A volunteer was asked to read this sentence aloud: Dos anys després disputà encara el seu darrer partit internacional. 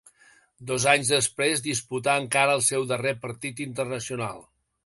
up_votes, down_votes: 2, 0